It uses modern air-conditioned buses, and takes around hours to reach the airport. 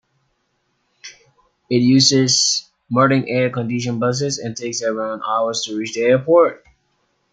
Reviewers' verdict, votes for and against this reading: rejected, 0, 2